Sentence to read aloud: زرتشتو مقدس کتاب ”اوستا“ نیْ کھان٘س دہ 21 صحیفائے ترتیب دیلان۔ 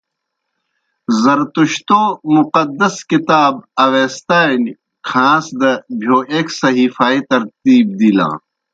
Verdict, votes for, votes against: rejected, 0, 2